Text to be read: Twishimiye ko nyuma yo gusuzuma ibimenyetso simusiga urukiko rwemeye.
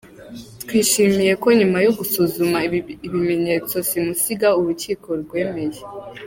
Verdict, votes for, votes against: rejected, 1, 2